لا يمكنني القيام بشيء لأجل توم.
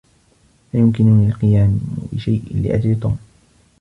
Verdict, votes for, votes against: rejected, 1, 2